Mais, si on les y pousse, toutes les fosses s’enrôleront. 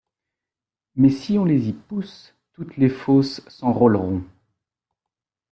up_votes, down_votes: 0, 2